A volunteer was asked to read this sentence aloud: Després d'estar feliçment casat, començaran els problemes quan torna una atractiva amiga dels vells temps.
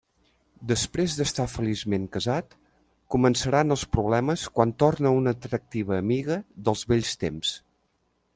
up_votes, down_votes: 3, 0